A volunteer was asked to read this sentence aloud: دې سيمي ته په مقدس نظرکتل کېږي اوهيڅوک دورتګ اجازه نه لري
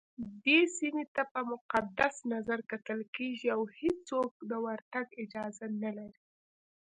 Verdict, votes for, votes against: accepted, 2, 1